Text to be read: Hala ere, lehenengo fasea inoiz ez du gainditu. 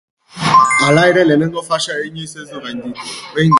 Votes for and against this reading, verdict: 0, 2, rejected